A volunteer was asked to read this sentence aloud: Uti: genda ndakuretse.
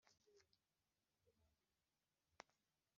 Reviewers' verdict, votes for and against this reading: rejected, 0, 2